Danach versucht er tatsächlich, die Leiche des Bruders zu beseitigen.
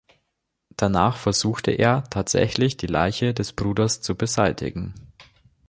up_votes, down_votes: 1, 2